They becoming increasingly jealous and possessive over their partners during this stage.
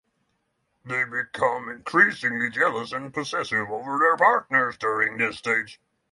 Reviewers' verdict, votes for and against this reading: accepted, 6, 0